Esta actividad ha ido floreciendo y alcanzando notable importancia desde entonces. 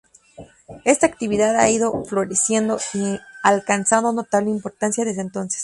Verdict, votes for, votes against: rejected, 0, 2